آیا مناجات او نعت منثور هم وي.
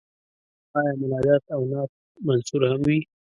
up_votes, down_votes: 1, 2